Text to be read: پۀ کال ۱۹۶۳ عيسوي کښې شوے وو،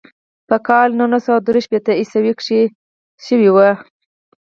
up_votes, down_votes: 0, 2